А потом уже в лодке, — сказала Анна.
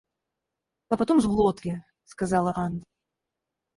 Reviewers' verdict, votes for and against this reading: rejected, 0, 4